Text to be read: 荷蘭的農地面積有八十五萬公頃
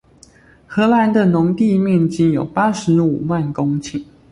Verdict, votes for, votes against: accepted, 2, 0